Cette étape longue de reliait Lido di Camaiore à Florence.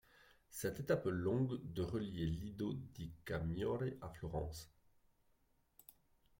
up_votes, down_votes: 1, 2